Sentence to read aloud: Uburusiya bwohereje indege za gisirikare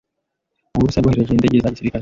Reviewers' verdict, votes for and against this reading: rejected, 1, 2